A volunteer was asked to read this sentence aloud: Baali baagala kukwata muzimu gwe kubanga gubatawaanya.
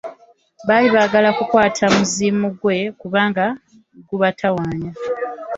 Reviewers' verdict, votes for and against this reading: accepted, 2, 0